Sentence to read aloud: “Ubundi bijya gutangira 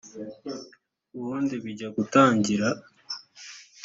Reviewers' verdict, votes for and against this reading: rejected, 0, 2